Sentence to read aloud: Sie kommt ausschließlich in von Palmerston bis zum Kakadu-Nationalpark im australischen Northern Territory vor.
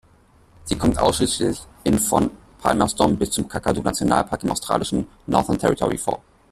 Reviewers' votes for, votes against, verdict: 2, 0, accepted